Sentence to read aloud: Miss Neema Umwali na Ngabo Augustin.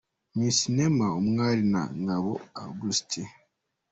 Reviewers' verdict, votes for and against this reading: accepted, 2, 1